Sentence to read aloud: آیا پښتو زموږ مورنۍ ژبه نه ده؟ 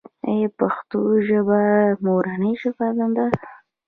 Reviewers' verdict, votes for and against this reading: rejected, 0, 2